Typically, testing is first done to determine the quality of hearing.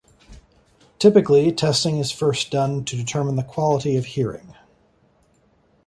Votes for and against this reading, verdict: 2, 0, accepted